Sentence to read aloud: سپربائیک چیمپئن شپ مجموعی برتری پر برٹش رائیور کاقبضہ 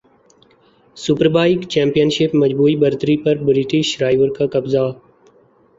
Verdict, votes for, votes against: accepted, 2, 0